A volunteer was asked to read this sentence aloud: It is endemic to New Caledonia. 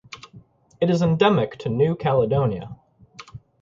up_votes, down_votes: 6, 0